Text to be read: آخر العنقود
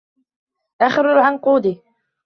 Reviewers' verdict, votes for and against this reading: rejected, 1, 2